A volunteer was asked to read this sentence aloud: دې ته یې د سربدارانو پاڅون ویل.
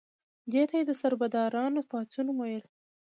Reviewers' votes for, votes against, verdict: 2, 0, accepted